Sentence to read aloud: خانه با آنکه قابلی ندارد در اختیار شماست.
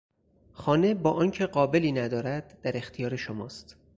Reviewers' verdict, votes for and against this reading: accepted, 4, 0